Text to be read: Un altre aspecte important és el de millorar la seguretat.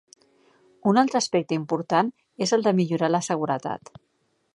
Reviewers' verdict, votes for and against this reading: accepted, 3, 0